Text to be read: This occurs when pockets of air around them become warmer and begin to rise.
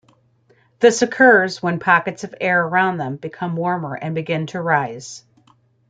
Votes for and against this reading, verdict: 2, 0, accepted